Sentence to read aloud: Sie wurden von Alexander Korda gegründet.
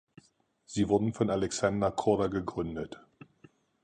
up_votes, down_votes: 4, 0